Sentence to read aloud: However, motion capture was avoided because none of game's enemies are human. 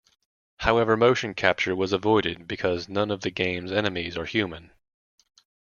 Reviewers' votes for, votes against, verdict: 2, 0, accepted